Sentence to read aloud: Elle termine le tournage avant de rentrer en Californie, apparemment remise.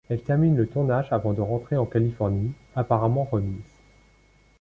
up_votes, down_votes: 2, 0